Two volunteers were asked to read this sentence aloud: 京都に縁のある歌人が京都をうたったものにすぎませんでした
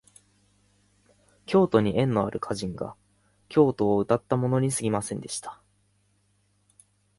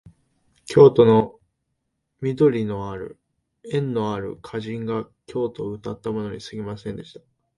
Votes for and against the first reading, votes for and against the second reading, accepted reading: 2, 0, 0, 2, first